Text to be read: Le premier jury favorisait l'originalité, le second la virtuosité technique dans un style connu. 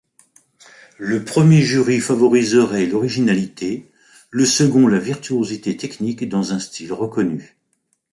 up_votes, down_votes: 0, 2